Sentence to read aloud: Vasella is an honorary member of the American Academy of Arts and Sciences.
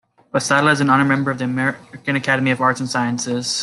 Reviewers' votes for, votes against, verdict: 1, 2, rejected